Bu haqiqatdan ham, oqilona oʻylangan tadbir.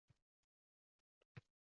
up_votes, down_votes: 0, 2